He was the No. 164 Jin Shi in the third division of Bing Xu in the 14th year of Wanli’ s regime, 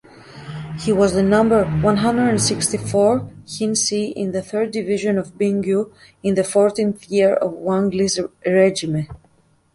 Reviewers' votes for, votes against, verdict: 0, 2, rejected